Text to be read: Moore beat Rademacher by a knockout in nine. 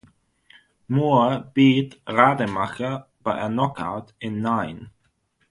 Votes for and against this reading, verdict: 3, 3, rejected